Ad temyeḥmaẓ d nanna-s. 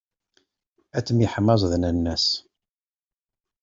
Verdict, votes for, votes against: accepted, 2, 0